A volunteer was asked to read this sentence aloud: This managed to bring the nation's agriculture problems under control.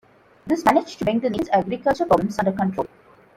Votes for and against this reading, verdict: 1, 2, rejected